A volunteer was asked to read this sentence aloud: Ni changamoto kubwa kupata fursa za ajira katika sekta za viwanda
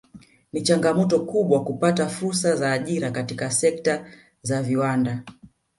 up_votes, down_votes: 2, 0